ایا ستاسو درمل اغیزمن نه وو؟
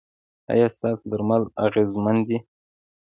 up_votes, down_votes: 1, 2